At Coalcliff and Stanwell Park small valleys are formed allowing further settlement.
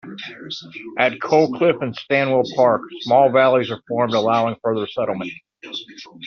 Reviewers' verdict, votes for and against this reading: rejected, 1, 2